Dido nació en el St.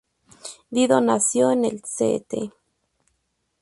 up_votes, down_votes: 0, 2